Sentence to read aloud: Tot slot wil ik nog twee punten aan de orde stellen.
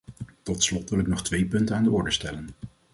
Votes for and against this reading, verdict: 2, 0, accepted